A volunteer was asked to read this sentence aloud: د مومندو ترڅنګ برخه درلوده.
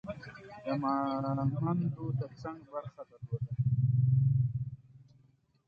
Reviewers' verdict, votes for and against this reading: rejected, 0, 2